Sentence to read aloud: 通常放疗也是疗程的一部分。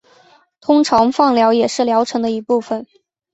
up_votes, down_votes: 2, 0